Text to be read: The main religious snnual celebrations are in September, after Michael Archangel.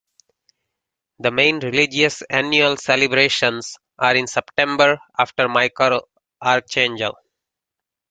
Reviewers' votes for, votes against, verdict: 1, 2, rejected